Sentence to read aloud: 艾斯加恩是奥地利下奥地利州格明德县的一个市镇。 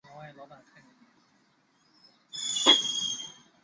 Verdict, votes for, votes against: rejected, 0, 2